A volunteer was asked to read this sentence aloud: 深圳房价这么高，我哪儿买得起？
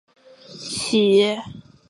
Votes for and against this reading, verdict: 0, 3, rejected